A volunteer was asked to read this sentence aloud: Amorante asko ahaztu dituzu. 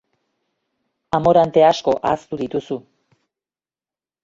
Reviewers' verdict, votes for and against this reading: accepted, 2, 0